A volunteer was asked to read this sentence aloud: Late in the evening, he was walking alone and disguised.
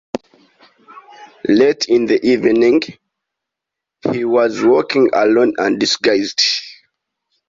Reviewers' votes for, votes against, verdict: 2, 0, accepted